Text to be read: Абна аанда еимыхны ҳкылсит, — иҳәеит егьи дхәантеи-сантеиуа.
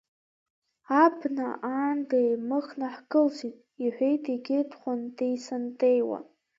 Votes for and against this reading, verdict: 2, 0, accepted